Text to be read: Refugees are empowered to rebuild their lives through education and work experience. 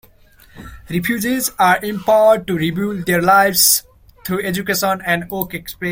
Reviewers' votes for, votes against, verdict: 1, 2, rejected